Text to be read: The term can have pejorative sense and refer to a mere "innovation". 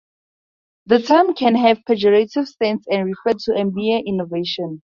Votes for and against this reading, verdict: 2, 0, accepted